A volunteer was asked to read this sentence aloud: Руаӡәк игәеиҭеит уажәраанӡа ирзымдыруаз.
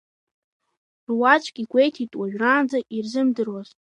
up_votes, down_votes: 3, 0